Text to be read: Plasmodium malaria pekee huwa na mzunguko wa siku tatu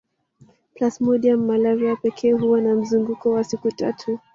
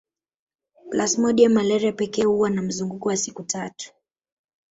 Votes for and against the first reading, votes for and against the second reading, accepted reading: 3, 2, 1, 2, first